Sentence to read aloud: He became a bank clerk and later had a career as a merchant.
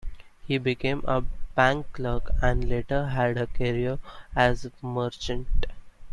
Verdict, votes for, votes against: rejected, 1, 2